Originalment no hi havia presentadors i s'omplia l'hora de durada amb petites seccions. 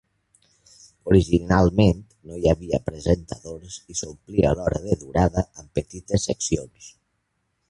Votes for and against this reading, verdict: 2, 0, accepted